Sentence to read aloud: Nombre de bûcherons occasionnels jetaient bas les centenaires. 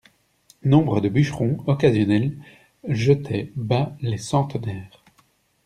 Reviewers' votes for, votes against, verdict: 2, 0, accepted